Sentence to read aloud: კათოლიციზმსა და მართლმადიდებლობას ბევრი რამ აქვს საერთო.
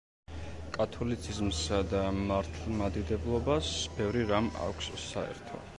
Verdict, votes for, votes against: accepted, 2, 0